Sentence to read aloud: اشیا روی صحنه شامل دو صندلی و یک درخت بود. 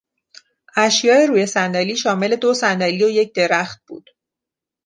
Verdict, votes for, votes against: rejected, 0, 2